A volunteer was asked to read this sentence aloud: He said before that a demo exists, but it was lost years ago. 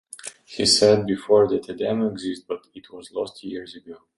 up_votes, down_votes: 0, 2